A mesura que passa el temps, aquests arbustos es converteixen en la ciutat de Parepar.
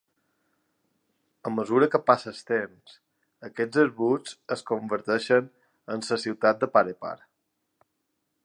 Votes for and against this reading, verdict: 2, 1, accepted